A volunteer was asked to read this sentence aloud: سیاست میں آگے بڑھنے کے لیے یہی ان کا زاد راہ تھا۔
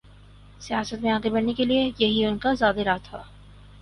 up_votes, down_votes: 2, 0